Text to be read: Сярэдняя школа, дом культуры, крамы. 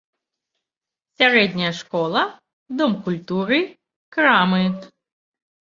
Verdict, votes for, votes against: rejected, 1, 2